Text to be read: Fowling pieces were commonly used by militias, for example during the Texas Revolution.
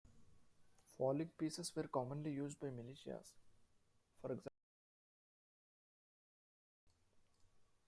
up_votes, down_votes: 0, 2